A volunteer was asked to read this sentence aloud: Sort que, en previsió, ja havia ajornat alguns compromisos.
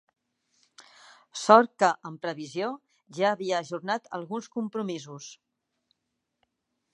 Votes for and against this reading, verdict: 3, 0, accepted